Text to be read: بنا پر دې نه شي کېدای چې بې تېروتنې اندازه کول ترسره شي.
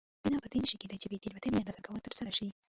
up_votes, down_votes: 1, 2